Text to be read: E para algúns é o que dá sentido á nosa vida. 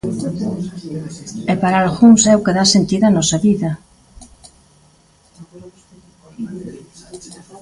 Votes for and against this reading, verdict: 0, 2, rejected